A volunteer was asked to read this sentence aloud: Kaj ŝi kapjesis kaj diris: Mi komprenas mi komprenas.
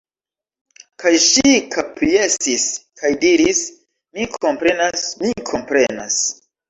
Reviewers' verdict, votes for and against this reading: rejected, 0, 2